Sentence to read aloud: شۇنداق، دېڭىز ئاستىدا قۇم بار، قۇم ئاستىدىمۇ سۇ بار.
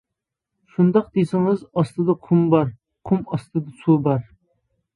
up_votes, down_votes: 0, 3